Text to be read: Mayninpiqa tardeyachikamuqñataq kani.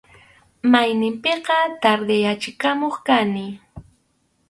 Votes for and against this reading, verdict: 0, 4, rejected